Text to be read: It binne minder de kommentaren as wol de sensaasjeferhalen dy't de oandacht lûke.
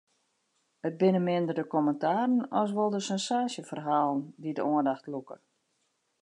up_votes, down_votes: 2, 0